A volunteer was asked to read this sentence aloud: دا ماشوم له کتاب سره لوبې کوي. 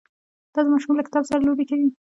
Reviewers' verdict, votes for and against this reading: rejected, 0, 2